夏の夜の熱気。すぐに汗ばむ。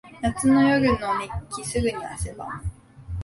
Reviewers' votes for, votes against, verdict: 3, 3, rejected